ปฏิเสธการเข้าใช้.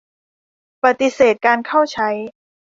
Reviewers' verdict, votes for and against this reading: accepted, 2, 0